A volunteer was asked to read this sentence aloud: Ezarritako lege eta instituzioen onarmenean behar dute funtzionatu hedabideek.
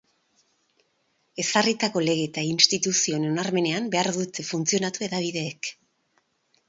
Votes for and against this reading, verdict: 0, 2, rejected